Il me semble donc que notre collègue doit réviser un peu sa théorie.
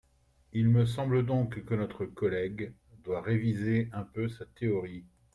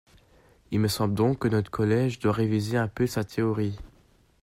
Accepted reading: first